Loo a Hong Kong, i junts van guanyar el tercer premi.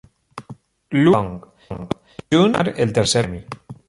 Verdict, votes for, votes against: rejected, 0, 2